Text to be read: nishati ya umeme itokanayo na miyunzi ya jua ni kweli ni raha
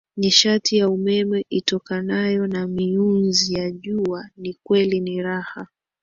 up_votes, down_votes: 2, 0